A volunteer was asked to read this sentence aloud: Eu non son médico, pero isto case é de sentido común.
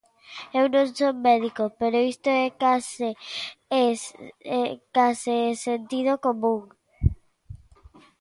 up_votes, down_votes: 0, 3